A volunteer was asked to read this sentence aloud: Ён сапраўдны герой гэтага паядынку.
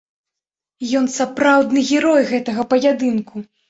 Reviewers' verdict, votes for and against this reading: accepted, 2, 0